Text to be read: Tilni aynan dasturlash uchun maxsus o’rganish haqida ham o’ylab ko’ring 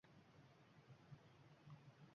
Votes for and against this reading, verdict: 0, 2, rejected